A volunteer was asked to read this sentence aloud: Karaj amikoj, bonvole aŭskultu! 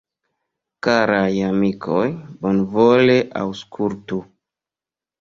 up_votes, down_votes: 1, 2